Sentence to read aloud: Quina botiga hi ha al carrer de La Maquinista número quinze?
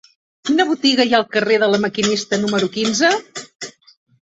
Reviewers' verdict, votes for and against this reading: rejected, 1, 2